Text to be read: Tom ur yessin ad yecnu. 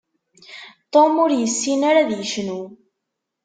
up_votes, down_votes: 0, 2